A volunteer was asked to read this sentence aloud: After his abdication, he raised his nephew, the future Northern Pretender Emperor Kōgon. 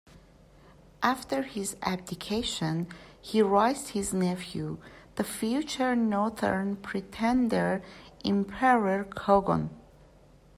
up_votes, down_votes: 0, 2